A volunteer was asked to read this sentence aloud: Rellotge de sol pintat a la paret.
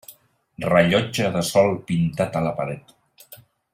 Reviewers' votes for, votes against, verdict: 4, 0, accepted